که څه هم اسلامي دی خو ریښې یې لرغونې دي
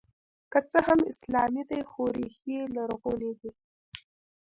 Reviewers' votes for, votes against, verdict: 1, 2, rejected